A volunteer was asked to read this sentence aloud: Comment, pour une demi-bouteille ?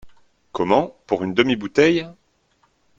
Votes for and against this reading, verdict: 2, 0, accepted